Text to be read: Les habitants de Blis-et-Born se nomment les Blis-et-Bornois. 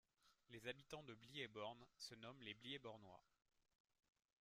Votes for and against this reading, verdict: 2, 0, accepted